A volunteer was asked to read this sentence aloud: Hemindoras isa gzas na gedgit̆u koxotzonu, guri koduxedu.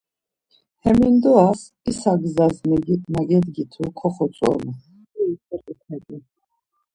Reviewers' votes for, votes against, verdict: 0, 2, rejected